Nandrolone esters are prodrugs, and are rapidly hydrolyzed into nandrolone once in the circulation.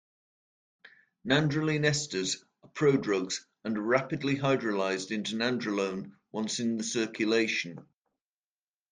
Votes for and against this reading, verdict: 0, 2, rejected